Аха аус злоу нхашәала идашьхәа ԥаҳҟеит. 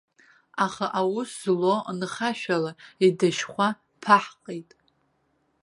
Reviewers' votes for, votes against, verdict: 2, 0, accepted